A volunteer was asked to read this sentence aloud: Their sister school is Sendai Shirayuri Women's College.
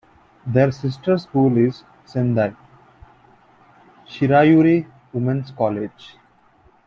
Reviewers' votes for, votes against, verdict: 1, 2, rejected